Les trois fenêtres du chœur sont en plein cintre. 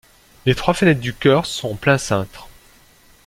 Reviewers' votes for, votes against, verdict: 0, 2, rejected